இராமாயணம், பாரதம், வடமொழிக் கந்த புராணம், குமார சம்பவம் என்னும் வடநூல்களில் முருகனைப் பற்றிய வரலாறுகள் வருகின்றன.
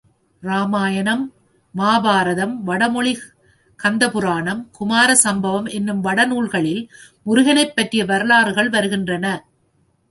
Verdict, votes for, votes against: rejected, 1, 2